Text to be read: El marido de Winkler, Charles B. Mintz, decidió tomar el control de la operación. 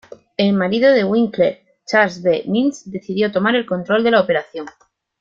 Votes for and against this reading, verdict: 2, 0, accepted